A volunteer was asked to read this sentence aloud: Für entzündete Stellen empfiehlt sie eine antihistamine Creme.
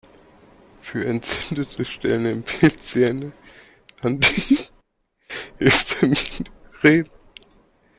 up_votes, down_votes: 0, 2